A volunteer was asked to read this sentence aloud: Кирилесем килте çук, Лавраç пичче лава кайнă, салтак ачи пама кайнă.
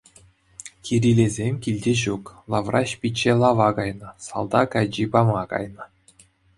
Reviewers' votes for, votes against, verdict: 2, 0, accepted